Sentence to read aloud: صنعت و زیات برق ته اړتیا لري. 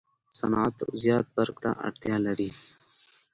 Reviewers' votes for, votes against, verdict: 2, 0, accepted